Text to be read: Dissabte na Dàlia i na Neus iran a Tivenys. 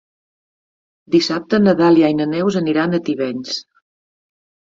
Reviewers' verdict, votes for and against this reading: rejected, 1, 3